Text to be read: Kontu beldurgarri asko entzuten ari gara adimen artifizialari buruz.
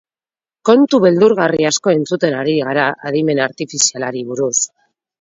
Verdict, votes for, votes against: accepted, 10, 0